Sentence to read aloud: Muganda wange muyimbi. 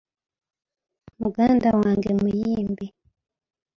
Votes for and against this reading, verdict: 2, 0, accepted